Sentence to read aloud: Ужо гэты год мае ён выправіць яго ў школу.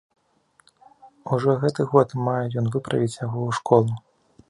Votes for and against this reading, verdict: 2, 0, accepted